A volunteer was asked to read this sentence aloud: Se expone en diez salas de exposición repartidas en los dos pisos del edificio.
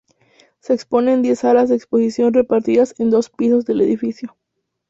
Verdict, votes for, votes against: rejected, 0, 2